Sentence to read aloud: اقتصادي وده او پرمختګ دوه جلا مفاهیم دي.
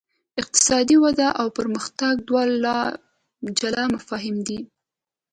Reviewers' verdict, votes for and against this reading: accepted, 2, 0